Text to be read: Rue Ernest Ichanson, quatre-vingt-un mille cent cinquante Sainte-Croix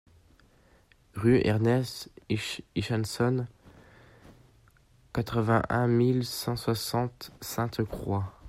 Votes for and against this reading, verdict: 0, 2, rejected